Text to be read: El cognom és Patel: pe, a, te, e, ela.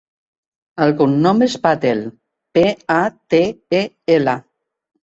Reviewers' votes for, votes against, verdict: 2, 1, accepted